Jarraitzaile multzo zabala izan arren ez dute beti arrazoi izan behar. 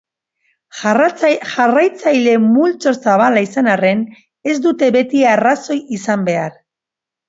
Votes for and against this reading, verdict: 1, 2, rejected